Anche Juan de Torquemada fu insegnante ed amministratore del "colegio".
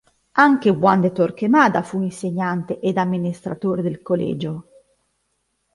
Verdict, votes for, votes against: accepted, 3, 0